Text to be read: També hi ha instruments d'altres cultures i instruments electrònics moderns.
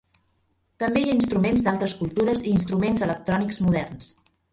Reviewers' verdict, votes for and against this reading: rejected, 0, 2